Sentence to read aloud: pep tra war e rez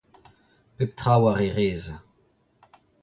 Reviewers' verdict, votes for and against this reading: accepted, 2, 1